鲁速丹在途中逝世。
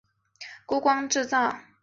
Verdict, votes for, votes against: rejected, 0, 2